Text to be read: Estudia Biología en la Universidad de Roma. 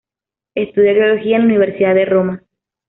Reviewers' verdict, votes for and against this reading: accepted, 2, 0